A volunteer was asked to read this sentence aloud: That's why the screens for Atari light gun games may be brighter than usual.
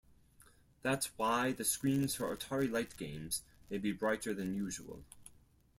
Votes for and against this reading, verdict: 0, 4, rejected